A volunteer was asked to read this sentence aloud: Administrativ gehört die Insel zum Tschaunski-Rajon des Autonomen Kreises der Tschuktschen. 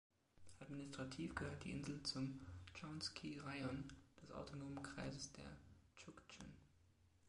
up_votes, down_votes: 1, 2